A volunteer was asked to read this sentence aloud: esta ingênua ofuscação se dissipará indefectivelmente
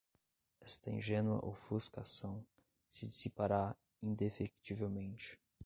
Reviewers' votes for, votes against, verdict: 1, 2, rejected